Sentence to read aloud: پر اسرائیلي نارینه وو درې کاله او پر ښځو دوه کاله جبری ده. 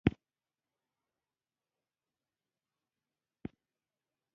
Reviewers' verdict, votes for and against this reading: rejected, 1, 2